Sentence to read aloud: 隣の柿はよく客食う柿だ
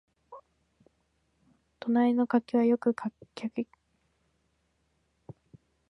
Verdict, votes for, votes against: rejected, 0, 2